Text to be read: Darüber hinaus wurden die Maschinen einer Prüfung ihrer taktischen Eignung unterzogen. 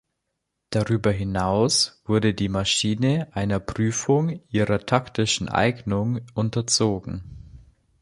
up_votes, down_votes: 0, 2